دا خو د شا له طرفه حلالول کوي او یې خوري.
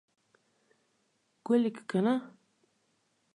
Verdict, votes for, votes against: rejected, 1, 2